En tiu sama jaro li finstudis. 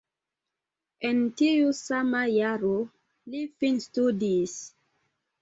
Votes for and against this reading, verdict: 2, 0, accepted